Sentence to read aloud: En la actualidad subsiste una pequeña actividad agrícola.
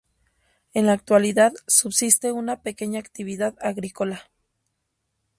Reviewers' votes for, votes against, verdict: 2, 0, accepted